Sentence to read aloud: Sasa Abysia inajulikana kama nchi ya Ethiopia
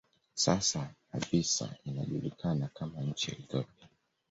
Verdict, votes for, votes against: rejected, 1, 2